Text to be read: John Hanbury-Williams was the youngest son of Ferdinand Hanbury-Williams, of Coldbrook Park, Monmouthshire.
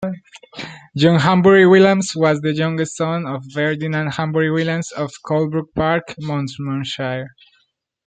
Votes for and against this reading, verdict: 0, 2, rejected